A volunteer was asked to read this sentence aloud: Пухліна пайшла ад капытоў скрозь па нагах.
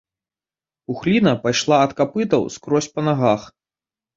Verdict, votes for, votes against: rejected, 0, 3